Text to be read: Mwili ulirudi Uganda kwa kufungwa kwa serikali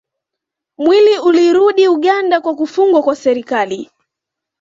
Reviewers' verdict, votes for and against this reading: accepted, 2, 0